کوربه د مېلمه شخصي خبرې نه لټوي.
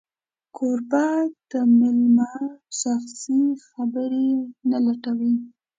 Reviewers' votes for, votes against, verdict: 2, 0, accepted